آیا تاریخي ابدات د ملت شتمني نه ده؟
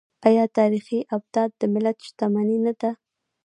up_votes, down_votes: 0, 2